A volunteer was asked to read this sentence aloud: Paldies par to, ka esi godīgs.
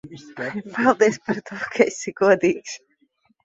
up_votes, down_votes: 0, 2